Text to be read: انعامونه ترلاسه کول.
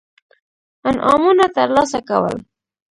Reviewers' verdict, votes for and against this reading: accepted, 2, 1